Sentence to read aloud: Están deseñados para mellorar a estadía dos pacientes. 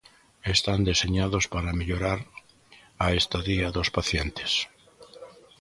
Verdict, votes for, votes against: rejected, 1, 2